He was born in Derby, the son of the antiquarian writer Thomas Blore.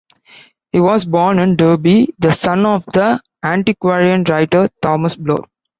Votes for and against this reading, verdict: 1, 2, rejected